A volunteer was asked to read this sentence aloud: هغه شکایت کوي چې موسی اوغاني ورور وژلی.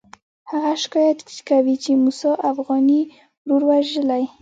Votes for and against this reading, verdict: 2, 0, accepted